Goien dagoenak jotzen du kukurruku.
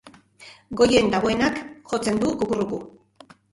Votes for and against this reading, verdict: 1, 2, rejected